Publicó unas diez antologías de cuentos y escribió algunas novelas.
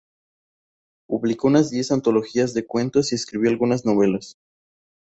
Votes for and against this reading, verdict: 2, 0, accepted